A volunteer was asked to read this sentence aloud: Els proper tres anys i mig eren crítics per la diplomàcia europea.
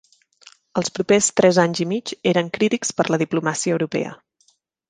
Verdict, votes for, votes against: accepted, 2, 0